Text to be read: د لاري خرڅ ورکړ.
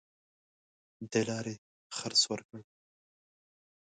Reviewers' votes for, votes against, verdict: 0, 2, rejected